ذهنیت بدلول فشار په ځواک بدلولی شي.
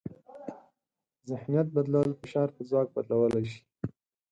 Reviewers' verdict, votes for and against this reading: accepted, 4, 0